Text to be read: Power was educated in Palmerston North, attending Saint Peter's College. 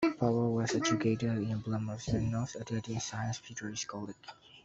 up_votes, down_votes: 0, 2